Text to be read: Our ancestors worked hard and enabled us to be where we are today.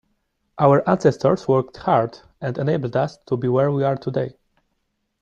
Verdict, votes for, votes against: accepted, 2, 1